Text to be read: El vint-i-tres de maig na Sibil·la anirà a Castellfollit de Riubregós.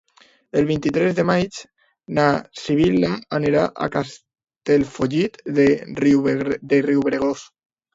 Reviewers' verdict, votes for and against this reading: rejected, 0, 2